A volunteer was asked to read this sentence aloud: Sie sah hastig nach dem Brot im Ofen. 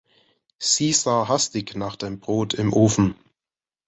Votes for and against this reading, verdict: 2, 0, accepted